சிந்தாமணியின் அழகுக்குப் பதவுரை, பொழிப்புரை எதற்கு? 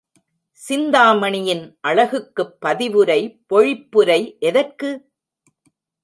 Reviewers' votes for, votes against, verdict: 0, 2, rejected